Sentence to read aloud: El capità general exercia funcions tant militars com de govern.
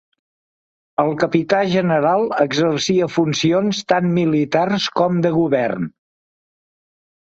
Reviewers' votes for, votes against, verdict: 2, 0, accepted